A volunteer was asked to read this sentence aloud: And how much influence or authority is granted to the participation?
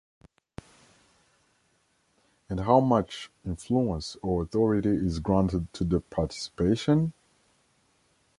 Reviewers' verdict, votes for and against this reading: accepted, 2, 0